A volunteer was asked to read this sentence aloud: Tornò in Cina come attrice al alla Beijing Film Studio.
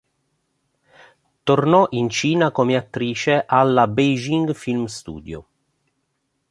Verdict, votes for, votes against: accepted, 2, 0